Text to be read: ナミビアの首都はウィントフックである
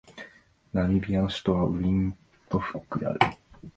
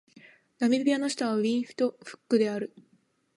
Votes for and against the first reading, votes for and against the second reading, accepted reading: 3, 0, 3, 4, first